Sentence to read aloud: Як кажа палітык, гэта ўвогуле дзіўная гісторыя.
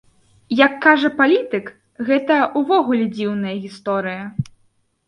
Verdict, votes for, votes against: accepted, 2, 0